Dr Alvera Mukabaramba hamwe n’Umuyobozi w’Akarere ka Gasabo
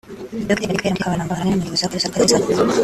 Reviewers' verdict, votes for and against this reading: rejected, 0, 2